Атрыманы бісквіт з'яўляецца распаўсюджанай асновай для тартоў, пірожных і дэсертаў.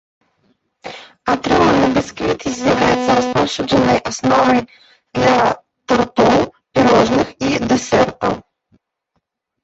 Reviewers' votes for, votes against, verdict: 0, 2, rejected